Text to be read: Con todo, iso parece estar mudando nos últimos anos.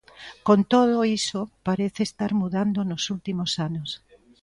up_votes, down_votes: 0, 2